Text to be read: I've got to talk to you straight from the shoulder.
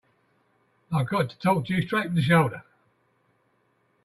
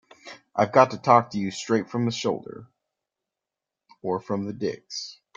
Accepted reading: first